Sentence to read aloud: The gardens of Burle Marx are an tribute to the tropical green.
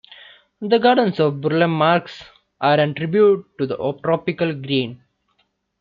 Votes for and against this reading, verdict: 2, 1, accepted